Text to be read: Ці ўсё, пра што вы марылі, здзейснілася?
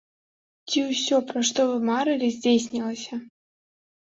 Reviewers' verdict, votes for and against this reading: accepted, 2, 0